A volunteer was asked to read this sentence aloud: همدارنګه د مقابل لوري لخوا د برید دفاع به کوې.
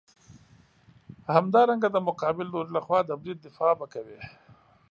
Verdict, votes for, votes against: accepted, 2, 0